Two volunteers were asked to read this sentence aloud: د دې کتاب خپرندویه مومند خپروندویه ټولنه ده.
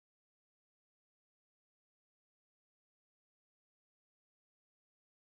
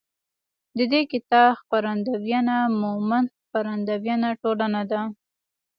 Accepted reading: second